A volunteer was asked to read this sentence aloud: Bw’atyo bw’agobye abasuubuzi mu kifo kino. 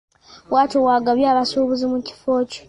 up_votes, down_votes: 0, 2